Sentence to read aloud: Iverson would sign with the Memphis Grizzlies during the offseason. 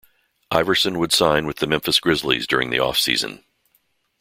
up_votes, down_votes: 2, 0